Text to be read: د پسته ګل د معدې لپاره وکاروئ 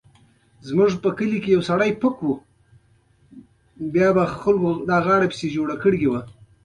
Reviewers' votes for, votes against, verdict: 1, 2, rejected